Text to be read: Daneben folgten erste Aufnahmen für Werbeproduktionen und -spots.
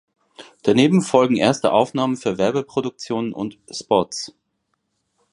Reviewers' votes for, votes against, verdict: 1, 2, rejected